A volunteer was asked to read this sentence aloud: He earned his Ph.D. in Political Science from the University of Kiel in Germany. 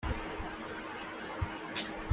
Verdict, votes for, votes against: rejected, 1, 2